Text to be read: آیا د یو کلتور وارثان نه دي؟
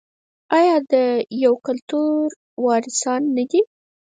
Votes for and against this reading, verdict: 0, 4, rejected